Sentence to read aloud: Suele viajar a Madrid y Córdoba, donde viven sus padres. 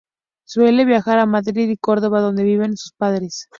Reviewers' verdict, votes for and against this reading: rejected, 0, 2